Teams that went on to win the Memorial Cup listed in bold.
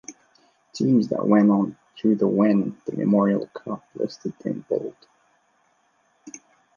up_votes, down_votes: 0, 2